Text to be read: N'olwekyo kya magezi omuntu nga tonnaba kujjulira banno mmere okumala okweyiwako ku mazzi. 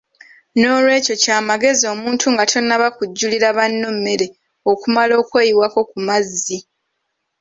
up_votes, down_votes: 2, 1